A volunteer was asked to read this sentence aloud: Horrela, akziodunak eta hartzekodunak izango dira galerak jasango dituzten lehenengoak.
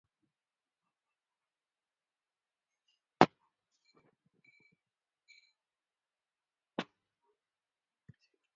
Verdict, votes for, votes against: rejected, 0, 4